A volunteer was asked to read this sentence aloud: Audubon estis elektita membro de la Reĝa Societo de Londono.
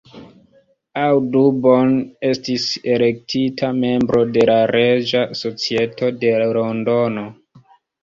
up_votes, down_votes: 2, 1